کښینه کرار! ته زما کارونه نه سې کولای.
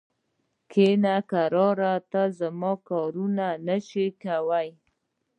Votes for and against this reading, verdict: 2, 0, accepted